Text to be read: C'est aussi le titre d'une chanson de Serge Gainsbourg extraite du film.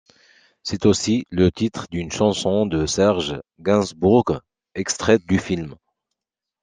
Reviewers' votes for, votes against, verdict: 2, 0, accepted